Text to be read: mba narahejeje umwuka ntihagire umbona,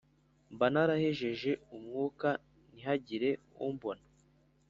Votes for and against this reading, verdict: 3, 0, accepted